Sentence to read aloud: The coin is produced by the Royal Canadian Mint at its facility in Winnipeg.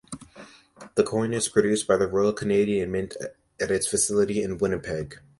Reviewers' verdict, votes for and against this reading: accepted, 2, 0